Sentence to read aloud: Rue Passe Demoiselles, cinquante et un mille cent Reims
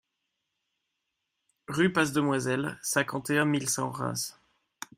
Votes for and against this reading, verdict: 2, 0, accepted